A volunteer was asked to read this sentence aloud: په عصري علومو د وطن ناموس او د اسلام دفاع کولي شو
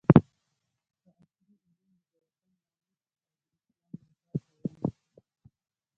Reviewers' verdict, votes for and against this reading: rejected, 1, 2